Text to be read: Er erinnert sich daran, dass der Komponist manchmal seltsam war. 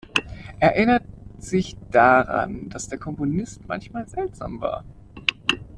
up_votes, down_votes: 0, 2